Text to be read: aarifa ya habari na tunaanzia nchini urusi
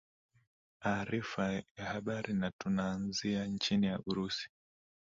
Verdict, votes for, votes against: accepted, 3, 0